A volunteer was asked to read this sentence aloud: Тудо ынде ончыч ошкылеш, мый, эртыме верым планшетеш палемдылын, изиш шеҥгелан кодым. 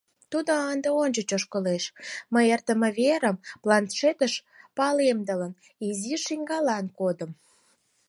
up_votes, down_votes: 2, 4